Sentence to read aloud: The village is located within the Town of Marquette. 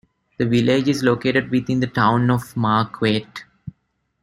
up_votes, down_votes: 2, 0